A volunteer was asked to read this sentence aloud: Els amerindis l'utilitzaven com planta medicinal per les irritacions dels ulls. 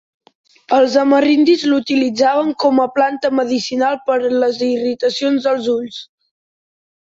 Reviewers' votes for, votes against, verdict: 1, 2, rejected